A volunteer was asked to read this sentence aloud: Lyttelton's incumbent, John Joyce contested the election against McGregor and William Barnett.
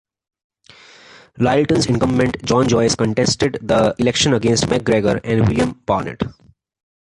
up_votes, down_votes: 2, 0